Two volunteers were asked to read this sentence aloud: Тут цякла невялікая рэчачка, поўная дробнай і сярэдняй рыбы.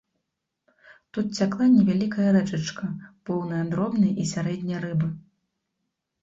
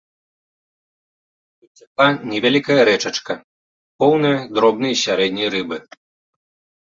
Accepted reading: first